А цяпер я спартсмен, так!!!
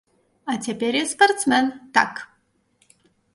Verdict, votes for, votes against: accepted, 3, 0